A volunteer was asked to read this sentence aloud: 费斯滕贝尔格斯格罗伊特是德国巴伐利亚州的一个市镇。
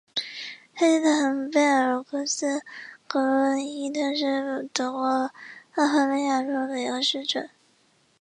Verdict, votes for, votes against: rejected, 0, 3